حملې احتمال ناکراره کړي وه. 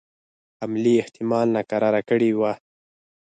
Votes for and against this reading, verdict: 4, 0, accepted